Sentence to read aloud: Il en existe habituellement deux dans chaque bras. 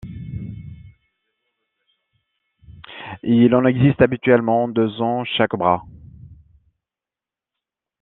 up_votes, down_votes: 0, 2